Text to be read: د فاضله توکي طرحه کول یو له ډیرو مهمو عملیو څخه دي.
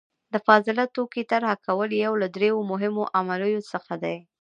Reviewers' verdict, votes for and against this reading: accepted, 2, 1